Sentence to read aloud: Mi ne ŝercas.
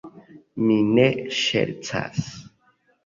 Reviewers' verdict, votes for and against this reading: accepted, 2, 0